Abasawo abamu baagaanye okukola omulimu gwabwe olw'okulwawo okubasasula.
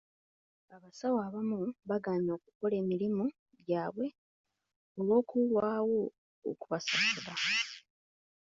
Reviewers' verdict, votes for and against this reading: rejected, 0, 2